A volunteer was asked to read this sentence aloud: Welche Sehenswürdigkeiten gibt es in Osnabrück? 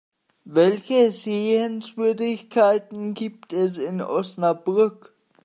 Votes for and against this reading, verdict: 2, 1, accepted